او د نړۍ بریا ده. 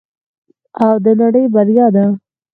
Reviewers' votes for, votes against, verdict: 4, 0, accepted